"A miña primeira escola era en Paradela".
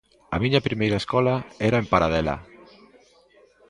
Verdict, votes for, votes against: accepted, 2, 0